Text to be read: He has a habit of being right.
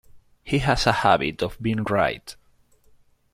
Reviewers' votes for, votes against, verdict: 1, 2, rejected